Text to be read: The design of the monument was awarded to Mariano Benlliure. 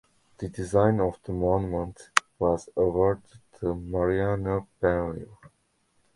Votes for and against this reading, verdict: 1, 2, rejected